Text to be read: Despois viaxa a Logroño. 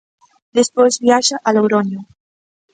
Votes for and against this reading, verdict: 2, 0, accepted